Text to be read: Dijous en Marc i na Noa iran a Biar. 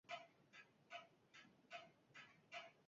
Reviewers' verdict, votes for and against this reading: rejected, 0, 2